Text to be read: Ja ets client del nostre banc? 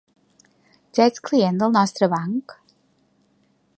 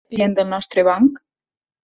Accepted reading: first